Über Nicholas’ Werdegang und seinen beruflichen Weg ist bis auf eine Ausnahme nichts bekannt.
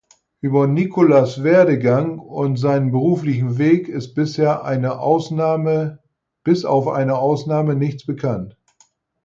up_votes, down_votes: 0, 4